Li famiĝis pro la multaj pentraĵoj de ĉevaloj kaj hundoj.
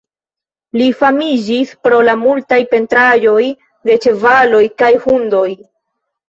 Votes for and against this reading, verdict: 1, 2, rejected